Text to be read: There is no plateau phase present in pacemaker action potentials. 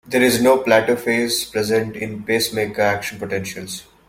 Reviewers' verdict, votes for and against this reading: accepted, 2, 0